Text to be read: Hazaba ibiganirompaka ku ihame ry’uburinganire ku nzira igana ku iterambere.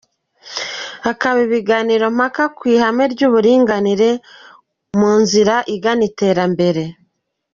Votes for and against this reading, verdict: 0, 2, rejected